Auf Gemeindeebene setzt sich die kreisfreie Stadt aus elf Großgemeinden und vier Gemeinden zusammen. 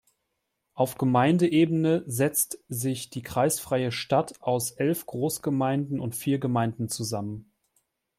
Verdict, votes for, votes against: accepted, 2, 0